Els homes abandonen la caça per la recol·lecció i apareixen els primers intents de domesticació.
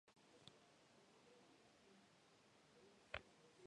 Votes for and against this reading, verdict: 1, 3, rejected